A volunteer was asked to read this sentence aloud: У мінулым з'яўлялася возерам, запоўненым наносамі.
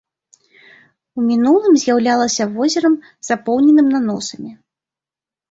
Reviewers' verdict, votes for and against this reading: accepted, 2, 0